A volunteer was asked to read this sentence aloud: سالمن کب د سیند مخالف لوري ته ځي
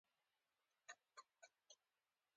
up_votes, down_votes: 2, 0